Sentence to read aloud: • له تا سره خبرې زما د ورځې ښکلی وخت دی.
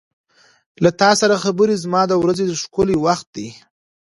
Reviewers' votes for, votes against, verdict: 2, 0, accepted